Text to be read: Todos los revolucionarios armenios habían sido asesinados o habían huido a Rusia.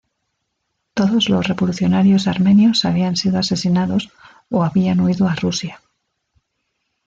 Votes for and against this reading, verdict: 2, 0, accepted